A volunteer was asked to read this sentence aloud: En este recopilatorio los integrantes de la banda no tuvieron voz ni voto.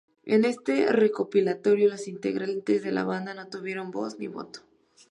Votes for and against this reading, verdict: 2, 0, accepted